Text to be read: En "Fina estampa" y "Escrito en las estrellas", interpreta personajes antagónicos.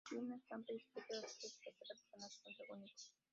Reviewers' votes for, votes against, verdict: 0, 3, rejected